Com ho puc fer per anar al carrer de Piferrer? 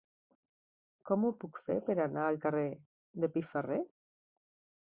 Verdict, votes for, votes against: accepted, 2, 0